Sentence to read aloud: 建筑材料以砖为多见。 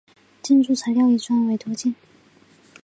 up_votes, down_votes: 2, 0